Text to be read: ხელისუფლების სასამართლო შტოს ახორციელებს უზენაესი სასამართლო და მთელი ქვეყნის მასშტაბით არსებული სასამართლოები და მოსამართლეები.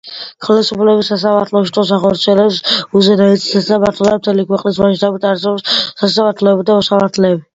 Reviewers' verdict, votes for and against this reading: rejected, 0, 2